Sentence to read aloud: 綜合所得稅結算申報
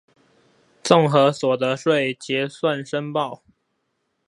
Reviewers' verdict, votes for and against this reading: rejected, 2, 2